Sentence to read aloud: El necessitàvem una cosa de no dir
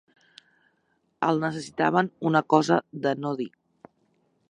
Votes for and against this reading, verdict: 0, 2, rejected